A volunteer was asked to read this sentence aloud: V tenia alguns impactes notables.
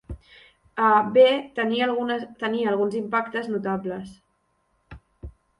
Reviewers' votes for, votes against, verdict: 0, 2, rejected